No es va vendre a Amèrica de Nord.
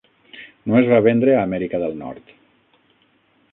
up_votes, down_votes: 3, 6